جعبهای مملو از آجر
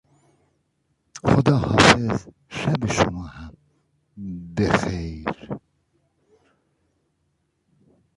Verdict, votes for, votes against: rejected, 0, 2